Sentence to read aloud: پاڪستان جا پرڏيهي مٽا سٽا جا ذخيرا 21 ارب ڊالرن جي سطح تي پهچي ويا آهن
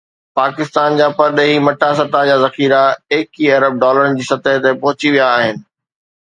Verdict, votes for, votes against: rejected, 0, 2